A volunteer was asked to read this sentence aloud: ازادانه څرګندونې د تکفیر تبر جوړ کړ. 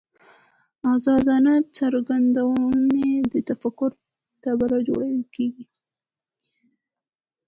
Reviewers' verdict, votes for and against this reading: rejected, 0, 2